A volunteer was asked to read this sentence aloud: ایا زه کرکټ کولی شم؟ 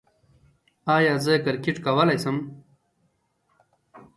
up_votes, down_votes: 2, 0